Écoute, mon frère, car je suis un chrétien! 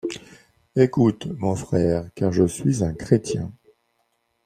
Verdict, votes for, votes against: accepted, 2, 0